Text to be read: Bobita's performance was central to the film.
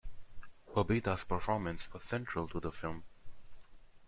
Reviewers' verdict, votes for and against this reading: accepted, 2, 0